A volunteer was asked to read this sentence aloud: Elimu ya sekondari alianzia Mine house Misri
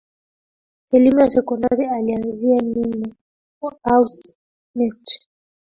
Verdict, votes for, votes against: rejected, 1, 2